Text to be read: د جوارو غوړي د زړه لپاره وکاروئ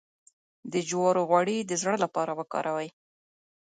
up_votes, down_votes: 2, 1